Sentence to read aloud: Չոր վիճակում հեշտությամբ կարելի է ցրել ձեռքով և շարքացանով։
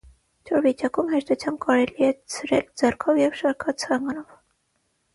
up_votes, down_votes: 3, 3